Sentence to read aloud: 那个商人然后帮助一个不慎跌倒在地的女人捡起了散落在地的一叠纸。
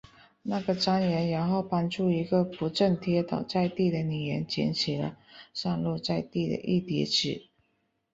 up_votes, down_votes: 6, 0